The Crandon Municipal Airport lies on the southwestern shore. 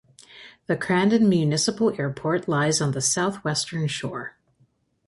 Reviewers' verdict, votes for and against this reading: accepted, 2, 0